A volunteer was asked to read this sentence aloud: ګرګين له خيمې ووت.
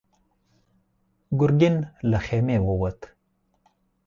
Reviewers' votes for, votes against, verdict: 4, 0, accepted